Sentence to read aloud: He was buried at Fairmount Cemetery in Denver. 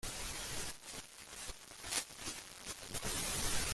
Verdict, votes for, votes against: rejected, 0, 2